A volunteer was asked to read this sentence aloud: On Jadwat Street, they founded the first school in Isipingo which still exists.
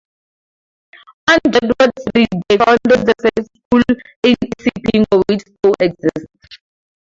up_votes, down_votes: 4, 0